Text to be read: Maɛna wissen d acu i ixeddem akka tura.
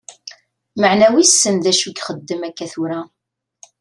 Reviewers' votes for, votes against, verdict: 2, 0, accepted